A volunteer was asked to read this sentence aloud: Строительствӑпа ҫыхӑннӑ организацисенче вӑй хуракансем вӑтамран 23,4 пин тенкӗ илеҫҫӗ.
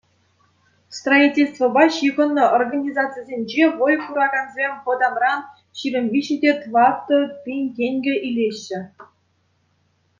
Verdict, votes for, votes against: rejected, 0, 2